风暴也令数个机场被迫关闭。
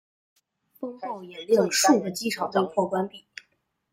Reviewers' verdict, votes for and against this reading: rejected, 1, 2